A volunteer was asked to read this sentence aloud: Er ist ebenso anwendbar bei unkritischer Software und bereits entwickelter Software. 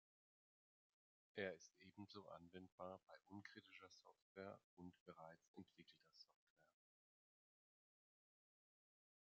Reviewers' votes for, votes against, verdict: 1, 2, rejected